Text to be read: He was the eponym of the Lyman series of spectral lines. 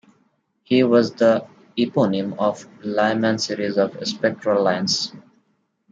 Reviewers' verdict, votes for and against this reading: rejected, 2, 3